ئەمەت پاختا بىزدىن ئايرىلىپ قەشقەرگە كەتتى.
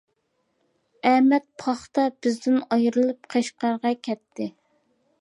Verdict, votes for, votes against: accepted, 2, 0